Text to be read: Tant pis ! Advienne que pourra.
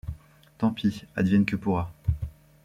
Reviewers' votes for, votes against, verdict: 2, 0, accepted